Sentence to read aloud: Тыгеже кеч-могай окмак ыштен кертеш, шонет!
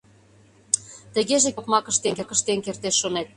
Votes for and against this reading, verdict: 0, 2, rejected